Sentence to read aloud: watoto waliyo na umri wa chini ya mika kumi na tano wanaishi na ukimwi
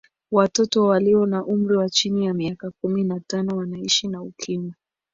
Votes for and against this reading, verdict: 1, 2, rejected